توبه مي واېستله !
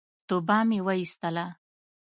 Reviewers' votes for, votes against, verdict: 2, 0, accepted